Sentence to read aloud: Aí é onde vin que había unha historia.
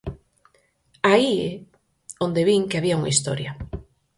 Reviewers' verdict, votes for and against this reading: rejected, 2, 4